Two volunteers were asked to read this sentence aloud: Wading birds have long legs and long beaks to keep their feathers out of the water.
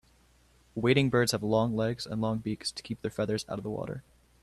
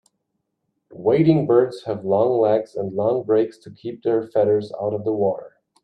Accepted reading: first